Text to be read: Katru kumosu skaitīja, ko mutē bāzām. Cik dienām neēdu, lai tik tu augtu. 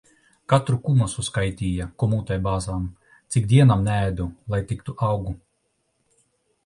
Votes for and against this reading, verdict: 0, 2, rejected